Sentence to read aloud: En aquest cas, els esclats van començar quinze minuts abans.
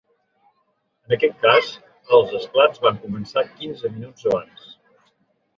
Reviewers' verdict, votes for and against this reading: accepted, 4, 0